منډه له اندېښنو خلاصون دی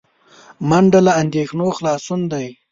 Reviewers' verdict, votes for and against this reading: accepted, 2, 0